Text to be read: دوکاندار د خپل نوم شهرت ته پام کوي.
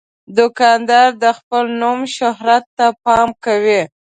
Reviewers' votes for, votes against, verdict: 2, 0, accepted